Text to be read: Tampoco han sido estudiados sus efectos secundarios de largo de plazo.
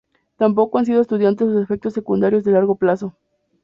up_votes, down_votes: 0, 2